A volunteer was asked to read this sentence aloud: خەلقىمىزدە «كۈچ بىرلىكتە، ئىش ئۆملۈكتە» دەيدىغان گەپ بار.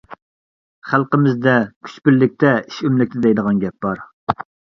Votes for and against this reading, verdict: 2, 0, accepted